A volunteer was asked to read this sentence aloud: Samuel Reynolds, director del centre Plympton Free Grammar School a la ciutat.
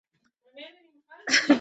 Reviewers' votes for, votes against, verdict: 0, 2, rejected